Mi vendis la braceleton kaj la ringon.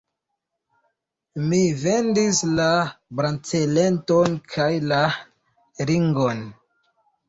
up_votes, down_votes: 2, 0